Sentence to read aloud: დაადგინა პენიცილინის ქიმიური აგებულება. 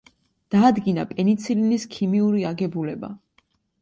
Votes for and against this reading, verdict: 2, 0, accepted